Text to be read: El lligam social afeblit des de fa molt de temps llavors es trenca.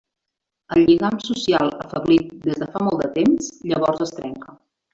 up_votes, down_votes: 1, 2